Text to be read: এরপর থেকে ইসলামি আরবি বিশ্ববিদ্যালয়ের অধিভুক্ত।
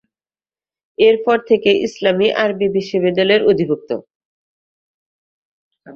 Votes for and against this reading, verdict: 2, 0, accepted